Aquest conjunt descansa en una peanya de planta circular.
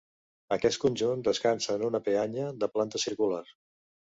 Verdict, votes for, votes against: accepted, 2, 0